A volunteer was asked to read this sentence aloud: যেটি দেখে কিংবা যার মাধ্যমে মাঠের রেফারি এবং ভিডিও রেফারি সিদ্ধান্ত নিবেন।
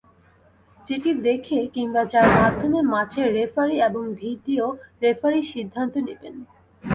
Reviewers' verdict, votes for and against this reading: accepted, 2, 0